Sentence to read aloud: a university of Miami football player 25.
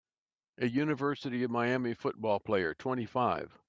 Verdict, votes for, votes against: rejected, 0, 2